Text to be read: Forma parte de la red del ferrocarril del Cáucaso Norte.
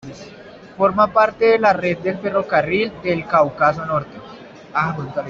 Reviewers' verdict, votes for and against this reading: rejected, 1, 2